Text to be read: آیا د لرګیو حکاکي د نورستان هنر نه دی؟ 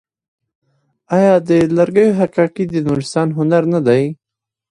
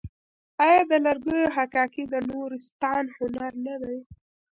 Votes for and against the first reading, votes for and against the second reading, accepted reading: 2, 1, 1, 2, first